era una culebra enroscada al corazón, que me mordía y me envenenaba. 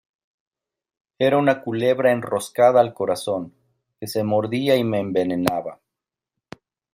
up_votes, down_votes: 0, 2